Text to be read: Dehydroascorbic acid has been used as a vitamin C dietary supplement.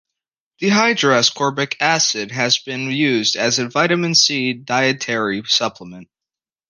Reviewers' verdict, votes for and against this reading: accepted, 2, 0